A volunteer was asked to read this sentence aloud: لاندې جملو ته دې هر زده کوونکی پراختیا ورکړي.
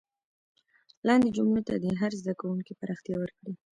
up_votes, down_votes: 2, 0